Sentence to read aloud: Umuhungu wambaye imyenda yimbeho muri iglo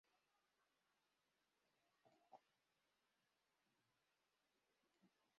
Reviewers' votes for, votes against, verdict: 0, 2, rejected